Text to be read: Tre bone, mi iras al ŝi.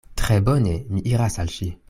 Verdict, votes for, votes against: accepted, 2, 0